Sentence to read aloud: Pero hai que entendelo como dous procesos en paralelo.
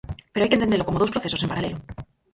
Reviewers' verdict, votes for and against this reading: rejected, 0, 4